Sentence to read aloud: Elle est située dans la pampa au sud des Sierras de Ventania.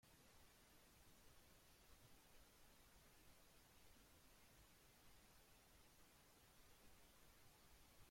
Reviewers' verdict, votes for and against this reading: rejected, 0, 2